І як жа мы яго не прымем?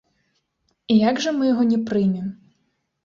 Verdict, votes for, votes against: rejected, 1, 2